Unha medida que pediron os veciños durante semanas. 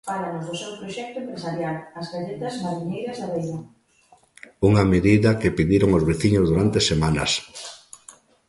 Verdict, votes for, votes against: rejected, 0, 2